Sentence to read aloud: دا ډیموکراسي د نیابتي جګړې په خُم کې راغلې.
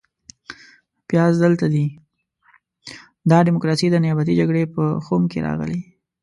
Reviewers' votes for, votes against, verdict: 1, 2, rejected